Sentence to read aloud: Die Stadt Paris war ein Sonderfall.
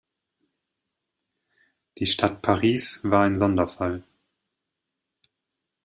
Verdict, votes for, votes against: accepted, 2, 0